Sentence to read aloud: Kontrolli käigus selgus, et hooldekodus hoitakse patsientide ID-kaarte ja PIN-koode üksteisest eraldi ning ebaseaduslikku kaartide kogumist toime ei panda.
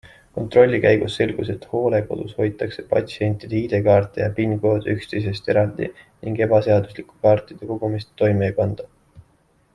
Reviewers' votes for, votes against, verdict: 0, 2, rejected